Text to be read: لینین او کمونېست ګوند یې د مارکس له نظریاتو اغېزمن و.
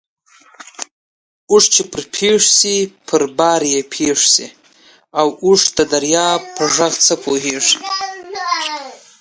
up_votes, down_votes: 0, 2